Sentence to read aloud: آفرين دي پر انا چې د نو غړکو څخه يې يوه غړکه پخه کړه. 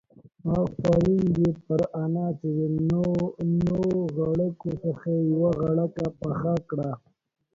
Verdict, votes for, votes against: accepted, 2, 0